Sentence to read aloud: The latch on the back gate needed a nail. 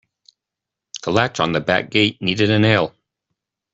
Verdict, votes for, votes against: accepted, 2, 0